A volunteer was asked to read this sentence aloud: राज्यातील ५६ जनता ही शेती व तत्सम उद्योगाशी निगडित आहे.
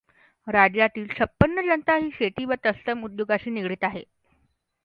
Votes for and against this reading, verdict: 0, 2, rejected